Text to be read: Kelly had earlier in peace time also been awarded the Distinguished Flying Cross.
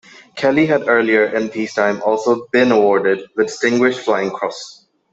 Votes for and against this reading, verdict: 2, 1, accepted